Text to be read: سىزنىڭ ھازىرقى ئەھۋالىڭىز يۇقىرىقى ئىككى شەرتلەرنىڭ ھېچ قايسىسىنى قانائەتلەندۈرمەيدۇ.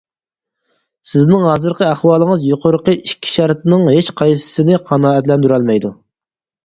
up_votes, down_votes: 0, 4